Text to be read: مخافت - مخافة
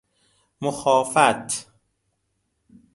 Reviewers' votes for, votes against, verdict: 0, 2, rejected